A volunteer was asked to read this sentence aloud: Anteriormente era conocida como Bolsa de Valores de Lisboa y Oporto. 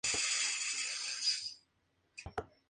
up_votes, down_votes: 0, 2